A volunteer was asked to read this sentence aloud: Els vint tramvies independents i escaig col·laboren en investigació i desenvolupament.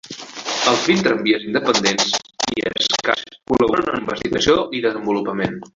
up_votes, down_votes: 0, 2